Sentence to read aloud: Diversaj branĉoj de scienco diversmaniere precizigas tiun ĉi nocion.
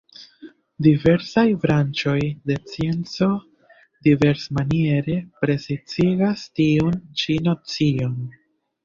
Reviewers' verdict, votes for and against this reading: rejected, 1, 2